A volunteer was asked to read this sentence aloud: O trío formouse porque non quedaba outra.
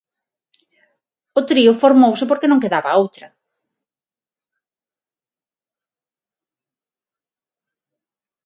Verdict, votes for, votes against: accepted, 6, 0